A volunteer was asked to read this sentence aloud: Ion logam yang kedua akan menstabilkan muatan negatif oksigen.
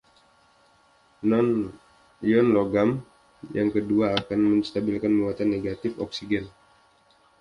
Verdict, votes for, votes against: rejected, 1, 2